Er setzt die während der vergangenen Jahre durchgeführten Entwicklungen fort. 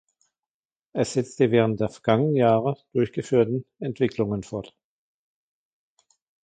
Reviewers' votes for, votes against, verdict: 2, 1, accepted